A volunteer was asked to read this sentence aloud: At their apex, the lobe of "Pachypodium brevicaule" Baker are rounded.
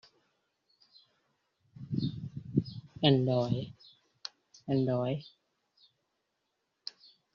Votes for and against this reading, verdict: 0, 2, rejected